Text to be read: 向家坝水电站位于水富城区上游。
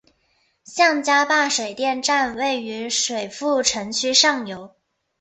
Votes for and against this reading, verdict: 4, 2, accepted